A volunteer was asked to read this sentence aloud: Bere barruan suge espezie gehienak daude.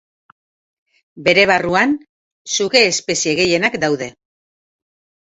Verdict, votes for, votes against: accepted, 3, 1